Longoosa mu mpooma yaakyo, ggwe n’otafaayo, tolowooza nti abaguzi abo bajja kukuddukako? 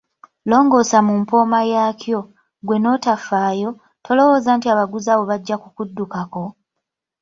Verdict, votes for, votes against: accepted, 2, 0